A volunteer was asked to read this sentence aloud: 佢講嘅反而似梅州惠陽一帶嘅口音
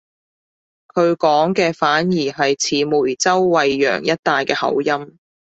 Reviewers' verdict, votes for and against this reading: rejected, 1, 2